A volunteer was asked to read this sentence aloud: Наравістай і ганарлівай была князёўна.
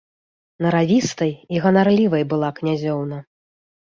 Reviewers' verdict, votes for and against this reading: accepted, 2, 0